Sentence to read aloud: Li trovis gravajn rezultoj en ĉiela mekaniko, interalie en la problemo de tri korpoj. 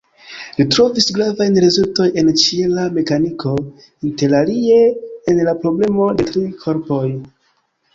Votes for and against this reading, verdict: 2, 0, accepted